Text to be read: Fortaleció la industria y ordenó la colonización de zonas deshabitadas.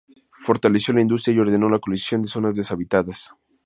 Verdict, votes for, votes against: rejected, 0, 2